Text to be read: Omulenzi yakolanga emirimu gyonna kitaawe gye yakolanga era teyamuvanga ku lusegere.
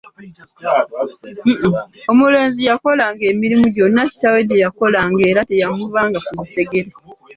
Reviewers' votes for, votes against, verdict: 2, 0, accepted